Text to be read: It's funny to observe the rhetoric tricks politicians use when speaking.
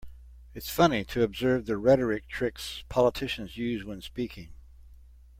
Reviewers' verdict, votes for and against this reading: accepted, 2, 0